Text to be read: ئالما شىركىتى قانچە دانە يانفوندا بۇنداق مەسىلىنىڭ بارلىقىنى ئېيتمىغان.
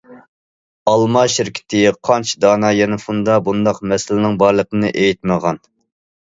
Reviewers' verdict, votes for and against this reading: accepted, 2, 0